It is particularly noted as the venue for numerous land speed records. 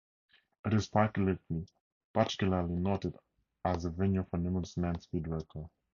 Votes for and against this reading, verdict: 0, 2, rejected